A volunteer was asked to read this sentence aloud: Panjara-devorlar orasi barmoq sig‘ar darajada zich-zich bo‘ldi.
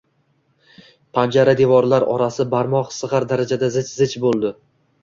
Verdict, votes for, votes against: accepted, 2, 0